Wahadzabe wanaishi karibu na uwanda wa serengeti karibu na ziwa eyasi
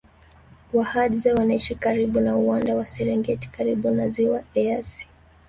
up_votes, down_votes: 1, 2